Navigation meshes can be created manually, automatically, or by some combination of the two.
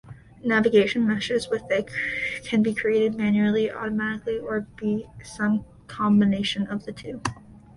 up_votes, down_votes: 0, 2